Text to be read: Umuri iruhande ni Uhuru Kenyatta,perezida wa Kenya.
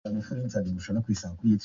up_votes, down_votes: 0, 2